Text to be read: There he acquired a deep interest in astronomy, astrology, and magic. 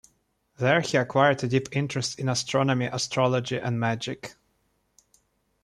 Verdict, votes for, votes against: accepted, 2, 0